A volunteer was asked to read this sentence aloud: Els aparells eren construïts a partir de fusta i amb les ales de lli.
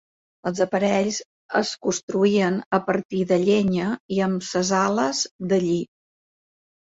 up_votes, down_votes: 0, 2